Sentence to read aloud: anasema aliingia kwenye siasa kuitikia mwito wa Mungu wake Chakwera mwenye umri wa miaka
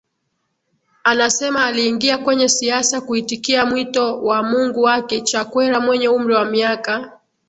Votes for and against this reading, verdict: 9, 1, accepted